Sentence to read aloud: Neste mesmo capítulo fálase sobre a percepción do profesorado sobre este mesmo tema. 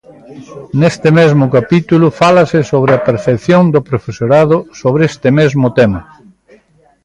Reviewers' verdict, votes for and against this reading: accepted, 2, 0